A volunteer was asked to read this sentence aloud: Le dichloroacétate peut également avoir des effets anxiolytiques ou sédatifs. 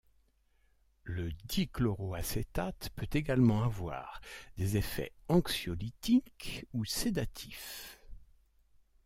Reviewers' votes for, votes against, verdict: 2, 0, accepted